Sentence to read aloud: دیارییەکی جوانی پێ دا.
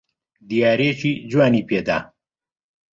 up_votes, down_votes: 2, 0